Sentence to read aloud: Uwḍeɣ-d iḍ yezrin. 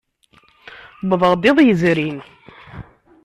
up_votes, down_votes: 1, 2